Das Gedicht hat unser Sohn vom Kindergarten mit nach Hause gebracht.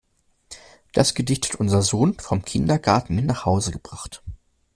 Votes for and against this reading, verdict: 0, 2, rejected